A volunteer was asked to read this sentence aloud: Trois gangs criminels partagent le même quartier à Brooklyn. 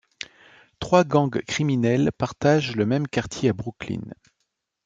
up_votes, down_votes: 2, 0